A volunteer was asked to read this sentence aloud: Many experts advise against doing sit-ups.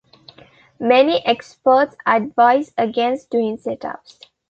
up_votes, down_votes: 2, 1